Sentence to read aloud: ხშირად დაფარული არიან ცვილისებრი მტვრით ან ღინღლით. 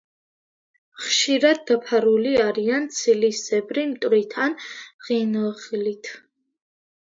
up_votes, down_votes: 2, 1